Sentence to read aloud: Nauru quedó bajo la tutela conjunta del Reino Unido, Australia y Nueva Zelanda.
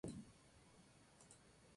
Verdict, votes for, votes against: rejected, 0, 2